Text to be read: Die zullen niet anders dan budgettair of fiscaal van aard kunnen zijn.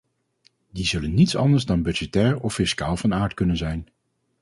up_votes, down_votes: 0, 2